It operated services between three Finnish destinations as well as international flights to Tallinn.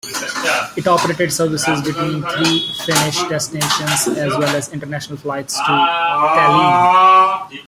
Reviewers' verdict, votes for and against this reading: rejected, 1, 2